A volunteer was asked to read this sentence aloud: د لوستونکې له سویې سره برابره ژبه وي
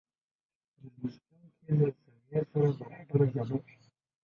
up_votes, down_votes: 0, 2